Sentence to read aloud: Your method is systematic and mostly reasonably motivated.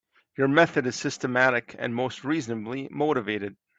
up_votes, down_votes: 2, 1